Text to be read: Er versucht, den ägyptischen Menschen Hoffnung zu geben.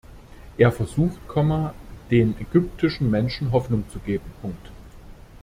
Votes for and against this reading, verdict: 1, 2, rejected